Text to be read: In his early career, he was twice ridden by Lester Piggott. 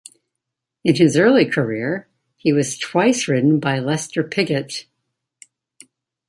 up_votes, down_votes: 1, 2